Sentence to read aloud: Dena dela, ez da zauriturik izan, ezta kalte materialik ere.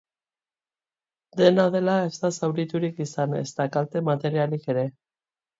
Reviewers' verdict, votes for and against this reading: accepted, 2, 0